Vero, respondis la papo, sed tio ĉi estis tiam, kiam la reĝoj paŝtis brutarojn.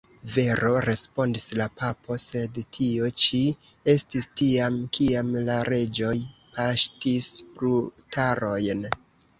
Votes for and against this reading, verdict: 1, 2, rejected